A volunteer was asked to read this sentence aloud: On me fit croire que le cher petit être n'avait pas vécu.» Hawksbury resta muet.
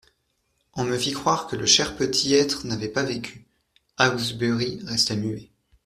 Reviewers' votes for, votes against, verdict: 0, 2, rejected